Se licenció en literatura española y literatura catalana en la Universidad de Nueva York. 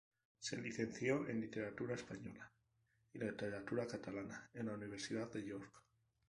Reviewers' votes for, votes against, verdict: 4, 0, accepted